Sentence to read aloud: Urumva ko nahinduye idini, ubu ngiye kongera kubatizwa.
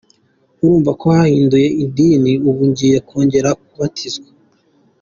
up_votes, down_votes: 2, 1